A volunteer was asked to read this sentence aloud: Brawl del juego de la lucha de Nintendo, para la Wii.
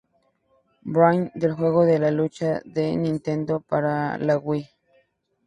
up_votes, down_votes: 2, 0